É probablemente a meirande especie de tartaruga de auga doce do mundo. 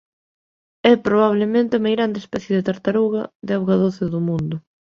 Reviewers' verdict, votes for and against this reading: accepted, 2, 0